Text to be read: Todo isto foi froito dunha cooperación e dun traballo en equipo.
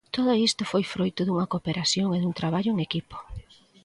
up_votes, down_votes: 2, 0